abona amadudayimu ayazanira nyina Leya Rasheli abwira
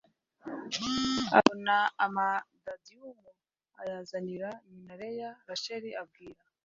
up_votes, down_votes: 1, 2